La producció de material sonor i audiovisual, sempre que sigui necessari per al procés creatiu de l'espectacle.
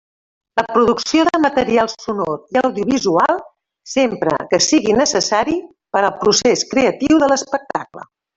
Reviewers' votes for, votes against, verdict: 1, 2, rejected